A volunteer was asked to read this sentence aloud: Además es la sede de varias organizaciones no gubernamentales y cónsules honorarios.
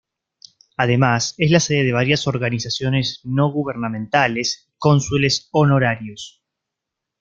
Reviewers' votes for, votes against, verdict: 1, 2, rejected